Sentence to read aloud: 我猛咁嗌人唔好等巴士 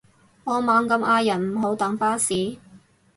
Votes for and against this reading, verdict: 2, 2, rejected